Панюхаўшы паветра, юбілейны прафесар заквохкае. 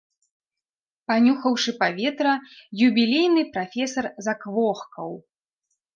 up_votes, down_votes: 0, 2